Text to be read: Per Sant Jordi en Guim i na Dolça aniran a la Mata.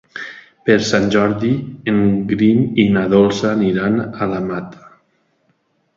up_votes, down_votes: 1, 2